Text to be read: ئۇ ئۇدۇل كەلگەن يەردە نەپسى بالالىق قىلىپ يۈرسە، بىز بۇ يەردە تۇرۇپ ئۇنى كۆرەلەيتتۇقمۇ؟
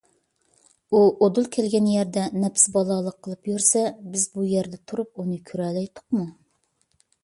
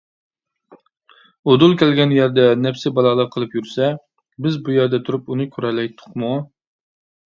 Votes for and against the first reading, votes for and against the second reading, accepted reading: 2, 0, 1, 2, first